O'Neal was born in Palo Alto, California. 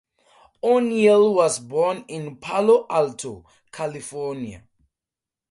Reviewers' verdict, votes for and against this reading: accepted, 4, 0